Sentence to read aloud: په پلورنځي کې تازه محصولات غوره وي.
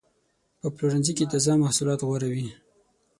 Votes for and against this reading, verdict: 24, 0, accepted